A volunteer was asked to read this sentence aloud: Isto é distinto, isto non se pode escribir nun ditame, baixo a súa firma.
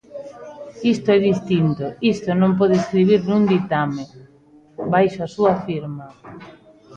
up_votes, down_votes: 0, 3